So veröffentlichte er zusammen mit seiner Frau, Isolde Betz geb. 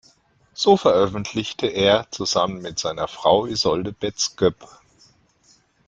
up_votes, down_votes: 0, 2